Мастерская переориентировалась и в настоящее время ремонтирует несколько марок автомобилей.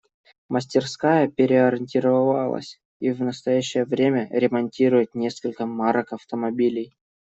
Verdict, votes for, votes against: rejected, 1, 2